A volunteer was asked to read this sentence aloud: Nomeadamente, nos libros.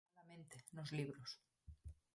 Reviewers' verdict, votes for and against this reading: rejected, 0, 4